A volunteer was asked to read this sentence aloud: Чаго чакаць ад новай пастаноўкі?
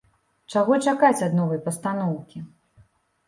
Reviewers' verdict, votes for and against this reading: accepted, 2, 0